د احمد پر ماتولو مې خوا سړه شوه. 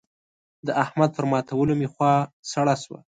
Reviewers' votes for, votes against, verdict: 2, 0, accepted